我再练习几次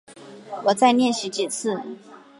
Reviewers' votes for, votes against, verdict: 4, 0, accepted